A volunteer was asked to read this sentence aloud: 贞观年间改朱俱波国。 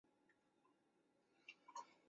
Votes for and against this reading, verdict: 0, 4, rejected